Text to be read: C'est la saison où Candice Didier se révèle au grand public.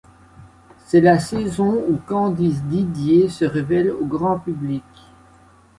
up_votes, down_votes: 2, 0